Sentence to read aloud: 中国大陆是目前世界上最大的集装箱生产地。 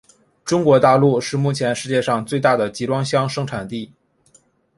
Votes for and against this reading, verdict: 3, 0, accepted